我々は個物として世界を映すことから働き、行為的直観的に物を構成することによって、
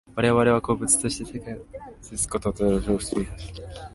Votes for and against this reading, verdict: 0, 2, rejected